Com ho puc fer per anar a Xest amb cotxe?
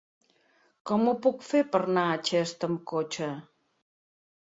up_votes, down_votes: 1, 2